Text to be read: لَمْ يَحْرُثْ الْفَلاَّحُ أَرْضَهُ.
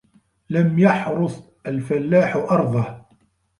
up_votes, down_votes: 0, 2